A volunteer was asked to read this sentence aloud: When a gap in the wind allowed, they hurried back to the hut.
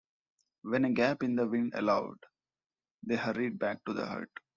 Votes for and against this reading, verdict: 2, 0, accepted